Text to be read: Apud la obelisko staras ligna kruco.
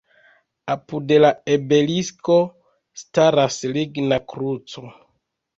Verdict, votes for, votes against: rejected, 1, 2